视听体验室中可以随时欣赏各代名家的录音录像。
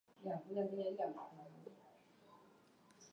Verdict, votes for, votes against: rejected, 0, 4